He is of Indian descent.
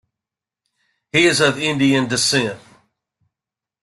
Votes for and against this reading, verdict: 2, 0, accepted